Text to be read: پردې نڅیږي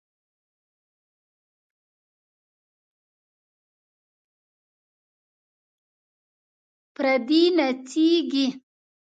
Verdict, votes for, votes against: rejected, 0, 2